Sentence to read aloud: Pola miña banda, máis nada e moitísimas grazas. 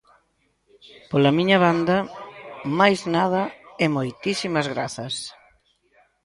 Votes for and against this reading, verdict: 1, 2, rejected